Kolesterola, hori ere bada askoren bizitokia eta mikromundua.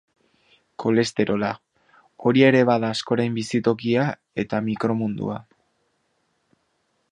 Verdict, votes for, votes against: accepted, 2, 0